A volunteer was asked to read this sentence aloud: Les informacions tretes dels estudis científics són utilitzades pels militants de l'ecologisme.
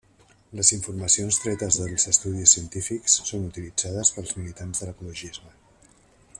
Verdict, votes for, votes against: rejected, 1, 2